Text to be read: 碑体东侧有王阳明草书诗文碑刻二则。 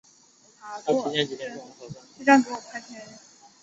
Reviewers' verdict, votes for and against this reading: rejected, 0, 2